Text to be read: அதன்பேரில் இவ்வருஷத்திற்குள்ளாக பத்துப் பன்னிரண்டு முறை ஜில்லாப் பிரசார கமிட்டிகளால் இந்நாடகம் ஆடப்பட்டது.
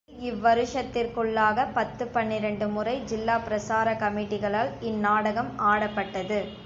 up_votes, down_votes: 1, 2